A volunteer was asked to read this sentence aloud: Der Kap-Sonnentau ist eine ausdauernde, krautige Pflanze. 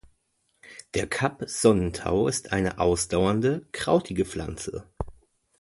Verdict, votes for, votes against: accepted, 2, 0